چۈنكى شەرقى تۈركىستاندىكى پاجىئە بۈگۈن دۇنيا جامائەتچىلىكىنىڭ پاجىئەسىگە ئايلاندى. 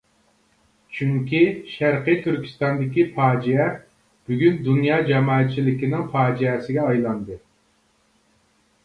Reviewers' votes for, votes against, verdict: 2, 0, accepted